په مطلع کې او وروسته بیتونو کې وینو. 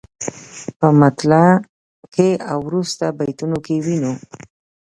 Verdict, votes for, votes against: accepted, 8, 1